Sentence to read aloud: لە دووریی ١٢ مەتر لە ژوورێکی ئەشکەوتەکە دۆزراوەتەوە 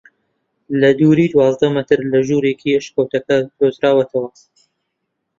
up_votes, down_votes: 0, 2